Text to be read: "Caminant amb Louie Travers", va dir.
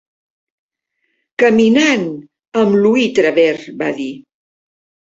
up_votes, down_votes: 3, 0